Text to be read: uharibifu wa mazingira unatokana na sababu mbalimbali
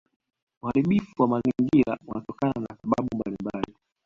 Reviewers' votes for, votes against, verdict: 2, 1, accepted